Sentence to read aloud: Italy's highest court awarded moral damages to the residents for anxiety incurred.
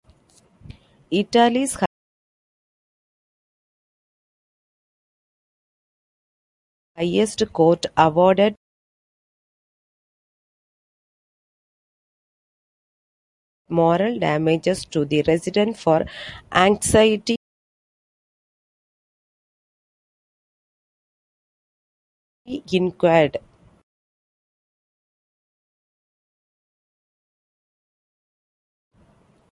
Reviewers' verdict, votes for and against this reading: rejected, 0, 2